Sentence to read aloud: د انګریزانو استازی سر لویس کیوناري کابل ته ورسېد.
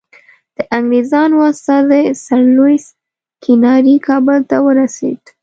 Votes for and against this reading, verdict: 0, 2, rejected